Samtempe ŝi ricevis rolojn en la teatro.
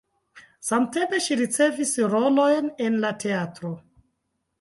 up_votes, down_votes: 1, 2